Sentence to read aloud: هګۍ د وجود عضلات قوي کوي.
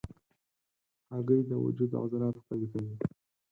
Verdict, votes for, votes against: rejected, 0, 4